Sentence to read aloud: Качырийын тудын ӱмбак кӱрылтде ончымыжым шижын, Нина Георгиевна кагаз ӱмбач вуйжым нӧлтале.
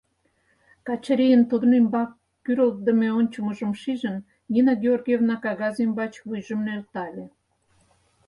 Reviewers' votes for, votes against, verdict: 0, 4, rejected